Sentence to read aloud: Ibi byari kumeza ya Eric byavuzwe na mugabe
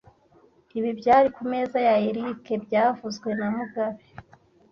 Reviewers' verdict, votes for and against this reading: accepted, 2, 0